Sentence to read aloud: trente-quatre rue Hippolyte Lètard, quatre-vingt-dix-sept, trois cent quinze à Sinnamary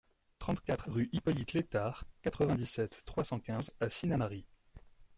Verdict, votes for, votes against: accepted, 2, 0